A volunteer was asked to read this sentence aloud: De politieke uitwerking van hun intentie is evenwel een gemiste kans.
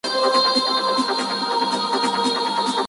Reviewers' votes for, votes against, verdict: 0, 2, rejected